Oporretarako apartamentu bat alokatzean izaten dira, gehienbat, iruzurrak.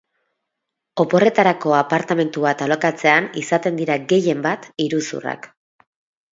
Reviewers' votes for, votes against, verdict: 4, 0, accepted